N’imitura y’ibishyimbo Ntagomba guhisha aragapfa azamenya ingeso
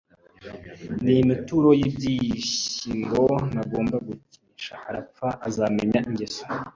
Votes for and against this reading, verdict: 0, 2, rejected